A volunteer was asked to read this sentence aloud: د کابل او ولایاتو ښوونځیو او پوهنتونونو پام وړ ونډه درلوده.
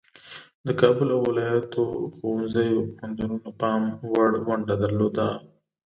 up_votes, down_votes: 3, 0